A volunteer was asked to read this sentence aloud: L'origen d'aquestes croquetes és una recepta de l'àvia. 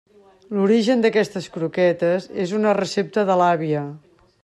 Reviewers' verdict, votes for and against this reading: accepted, 3, 0